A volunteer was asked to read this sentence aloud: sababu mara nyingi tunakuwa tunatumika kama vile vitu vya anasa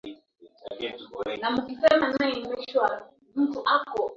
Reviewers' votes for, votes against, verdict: 0, 2, rejected